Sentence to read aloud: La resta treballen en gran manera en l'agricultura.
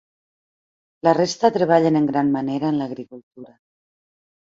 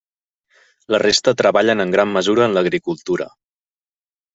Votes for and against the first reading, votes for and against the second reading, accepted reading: 3, 0, 1, 2, first